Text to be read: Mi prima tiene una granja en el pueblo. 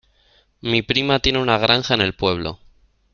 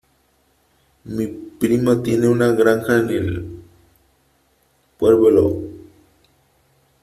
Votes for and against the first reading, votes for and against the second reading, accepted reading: 2, 0, 1, 2, first